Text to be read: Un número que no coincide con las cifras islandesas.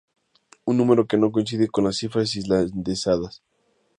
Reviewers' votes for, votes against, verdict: 2, 2, rejected